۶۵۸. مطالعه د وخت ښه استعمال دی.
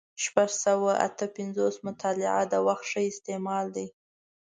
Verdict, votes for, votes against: rejected, 0, 2